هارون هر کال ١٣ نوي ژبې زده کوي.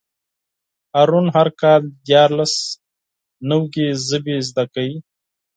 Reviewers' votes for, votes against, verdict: 0, 2, rejected